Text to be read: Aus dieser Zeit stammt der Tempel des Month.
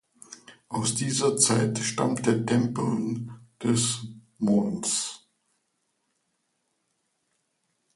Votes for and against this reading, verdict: 2, 0, accepted